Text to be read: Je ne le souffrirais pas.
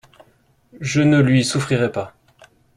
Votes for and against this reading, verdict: 0, 2, rejected